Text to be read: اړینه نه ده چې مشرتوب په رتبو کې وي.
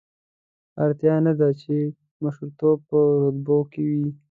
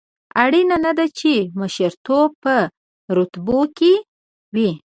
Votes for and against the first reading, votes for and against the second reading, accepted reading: 1, 2, 2, 0, second